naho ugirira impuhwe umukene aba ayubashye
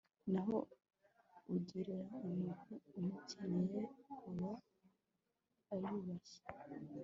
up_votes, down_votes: 1, 2